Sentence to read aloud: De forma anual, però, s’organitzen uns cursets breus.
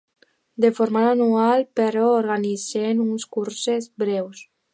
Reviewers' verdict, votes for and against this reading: rejected, 0, 2